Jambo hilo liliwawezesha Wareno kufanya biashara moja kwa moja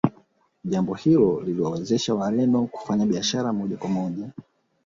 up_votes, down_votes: 3, 1